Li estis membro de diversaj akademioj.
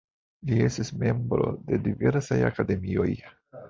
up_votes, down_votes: 1, 2